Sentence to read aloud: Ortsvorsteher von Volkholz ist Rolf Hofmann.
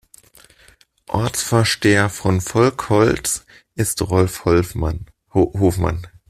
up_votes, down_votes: 0, 2